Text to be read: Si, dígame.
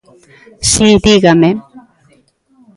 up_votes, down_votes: 2, 0